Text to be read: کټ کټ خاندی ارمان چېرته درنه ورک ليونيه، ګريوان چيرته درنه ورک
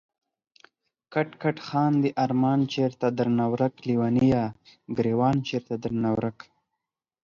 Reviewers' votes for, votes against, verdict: 4, 0, accepted